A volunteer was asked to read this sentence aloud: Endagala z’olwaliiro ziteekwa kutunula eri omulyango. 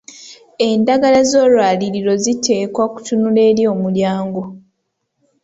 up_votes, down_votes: 2, 0